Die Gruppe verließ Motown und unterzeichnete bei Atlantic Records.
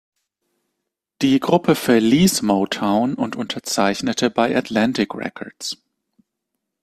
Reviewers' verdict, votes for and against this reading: accepted, 2, 0